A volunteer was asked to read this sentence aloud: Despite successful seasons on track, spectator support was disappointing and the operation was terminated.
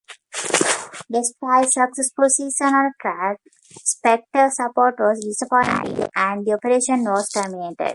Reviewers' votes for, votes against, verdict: 0, 2, rejected